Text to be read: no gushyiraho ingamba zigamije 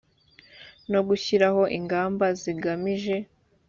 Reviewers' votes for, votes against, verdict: 3, 0, accepted